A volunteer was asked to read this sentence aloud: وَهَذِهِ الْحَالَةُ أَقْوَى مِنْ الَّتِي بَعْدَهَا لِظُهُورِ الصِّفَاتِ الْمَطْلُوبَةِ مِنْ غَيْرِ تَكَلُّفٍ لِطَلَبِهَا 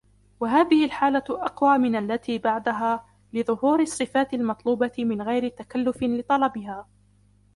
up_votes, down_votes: 1, 2